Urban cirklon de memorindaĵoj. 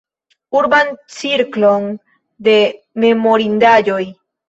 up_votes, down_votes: 1, 2